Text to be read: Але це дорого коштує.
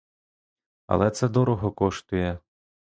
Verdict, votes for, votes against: accepted, 2, 0